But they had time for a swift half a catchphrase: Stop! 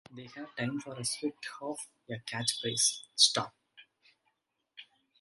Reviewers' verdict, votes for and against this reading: rejected, 1, 2